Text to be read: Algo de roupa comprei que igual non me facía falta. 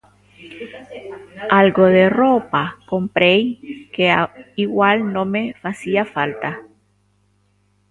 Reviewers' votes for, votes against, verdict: 0, 2, rejected